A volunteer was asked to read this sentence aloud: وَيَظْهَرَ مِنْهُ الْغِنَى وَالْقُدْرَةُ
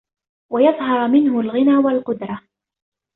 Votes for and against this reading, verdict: 2, 0, accepted